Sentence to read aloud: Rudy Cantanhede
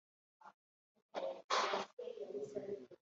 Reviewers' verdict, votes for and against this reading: rejected, 0, 2